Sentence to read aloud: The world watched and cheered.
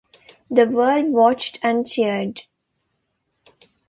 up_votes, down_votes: 2, 0